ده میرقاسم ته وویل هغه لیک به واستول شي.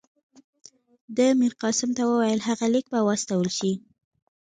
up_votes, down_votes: 1, 2